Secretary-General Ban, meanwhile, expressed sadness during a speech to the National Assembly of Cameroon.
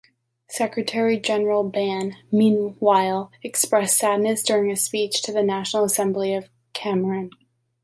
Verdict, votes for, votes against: accepted, 3, 2